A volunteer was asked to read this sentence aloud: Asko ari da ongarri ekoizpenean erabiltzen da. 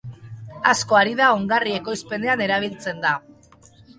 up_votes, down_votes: 1, 2